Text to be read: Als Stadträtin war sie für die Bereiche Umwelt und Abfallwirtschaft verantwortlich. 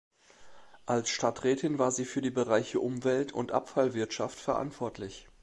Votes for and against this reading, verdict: 2, 0, accepted